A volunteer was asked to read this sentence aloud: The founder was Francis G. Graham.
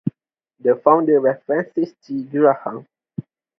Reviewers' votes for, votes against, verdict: 2, 0, accepted